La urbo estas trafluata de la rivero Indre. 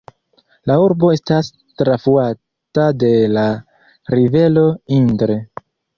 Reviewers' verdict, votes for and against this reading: rejected, 0, 2